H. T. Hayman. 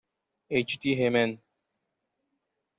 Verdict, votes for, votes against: accepted, 2, 0